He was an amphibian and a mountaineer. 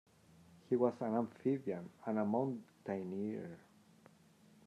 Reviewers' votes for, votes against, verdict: 1, 2, rejected